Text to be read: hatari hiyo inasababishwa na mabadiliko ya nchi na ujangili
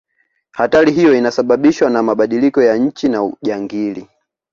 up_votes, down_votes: 2, 0